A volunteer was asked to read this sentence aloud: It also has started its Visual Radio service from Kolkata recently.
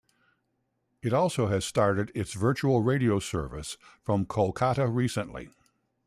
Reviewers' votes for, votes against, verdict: 1, 2, rejected